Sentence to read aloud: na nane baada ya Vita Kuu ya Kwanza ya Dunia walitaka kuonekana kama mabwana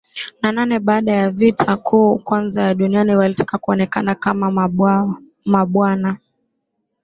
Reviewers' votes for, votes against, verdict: 1, 2, rejected